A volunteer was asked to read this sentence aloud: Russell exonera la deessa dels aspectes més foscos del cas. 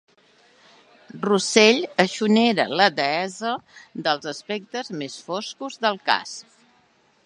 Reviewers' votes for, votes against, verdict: 1, 2, rejected